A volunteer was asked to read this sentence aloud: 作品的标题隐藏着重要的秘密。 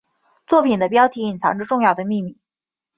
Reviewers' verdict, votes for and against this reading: rejected, 0, 2